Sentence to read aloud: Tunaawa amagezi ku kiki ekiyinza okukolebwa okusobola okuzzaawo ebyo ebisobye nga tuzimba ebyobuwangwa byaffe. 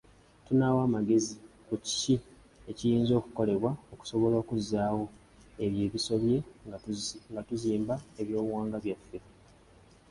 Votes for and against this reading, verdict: 3, 0, accepted